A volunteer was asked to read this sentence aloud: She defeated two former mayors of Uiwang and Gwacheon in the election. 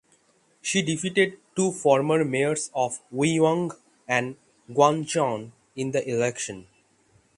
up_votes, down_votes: 3, 6